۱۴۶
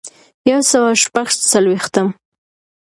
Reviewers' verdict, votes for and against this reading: rejected, 0, 2